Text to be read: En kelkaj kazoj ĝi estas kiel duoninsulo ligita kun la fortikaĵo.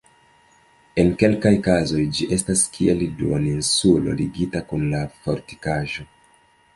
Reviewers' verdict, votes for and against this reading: rejected, 1, 2